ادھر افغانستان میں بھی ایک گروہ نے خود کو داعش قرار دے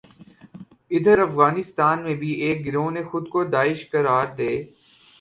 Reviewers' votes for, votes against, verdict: 8, 0, accepted